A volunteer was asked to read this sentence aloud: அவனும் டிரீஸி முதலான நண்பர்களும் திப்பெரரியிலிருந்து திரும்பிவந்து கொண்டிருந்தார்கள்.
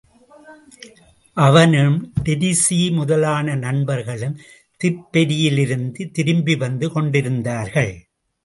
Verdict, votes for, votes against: accepted, 2, 0